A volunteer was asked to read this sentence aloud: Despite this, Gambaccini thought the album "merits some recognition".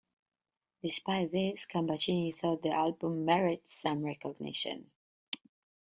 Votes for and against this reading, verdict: 2, 0, accepted